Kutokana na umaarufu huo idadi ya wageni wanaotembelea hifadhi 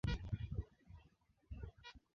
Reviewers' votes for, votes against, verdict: 0, 2, rejected